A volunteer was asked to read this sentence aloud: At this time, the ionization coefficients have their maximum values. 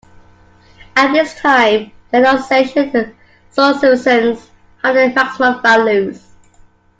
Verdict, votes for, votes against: rejected, 0, 2